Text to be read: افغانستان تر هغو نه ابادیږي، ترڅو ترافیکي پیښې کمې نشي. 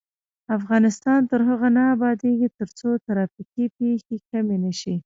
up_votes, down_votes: 0, 2